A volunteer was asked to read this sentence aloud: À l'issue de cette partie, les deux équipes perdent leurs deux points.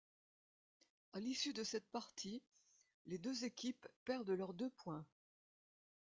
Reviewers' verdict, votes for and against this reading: accepted, 2, 0